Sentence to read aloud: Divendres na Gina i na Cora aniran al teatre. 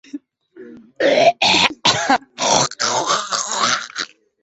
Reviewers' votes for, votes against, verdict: 0, 2, rejected